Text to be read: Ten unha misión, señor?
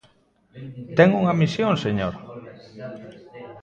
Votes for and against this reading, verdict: 0, 2, rejected